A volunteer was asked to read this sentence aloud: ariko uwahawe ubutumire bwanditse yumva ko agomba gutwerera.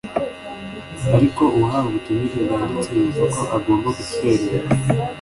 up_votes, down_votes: 2, 0